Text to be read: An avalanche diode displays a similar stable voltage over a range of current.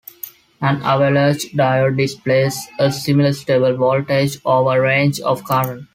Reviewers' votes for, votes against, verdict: 2, 0, accepted